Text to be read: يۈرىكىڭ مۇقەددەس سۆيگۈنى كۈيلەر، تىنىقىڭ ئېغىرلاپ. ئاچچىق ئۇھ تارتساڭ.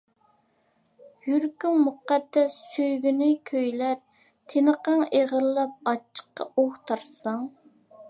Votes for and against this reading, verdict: 0, 2, rejected